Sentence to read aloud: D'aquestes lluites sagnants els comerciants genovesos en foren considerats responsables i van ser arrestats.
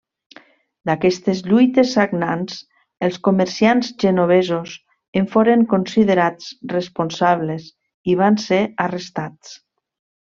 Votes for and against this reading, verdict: 3, 0, accepted